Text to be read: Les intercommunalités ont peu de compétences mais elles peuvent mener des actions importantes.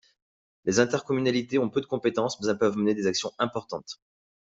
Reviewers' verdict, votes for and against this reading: accepted, 2, 0